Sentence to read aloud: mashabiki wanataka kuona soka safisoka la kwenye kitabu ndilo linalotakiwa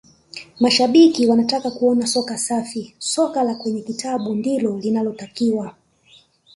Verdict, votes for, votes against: accepted, 2, 1